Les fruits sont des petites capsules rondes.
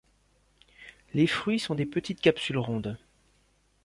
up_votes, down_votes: 2, 0